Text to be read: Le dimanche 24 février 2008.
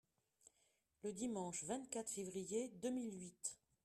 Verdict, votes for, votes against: rejected, 0, 2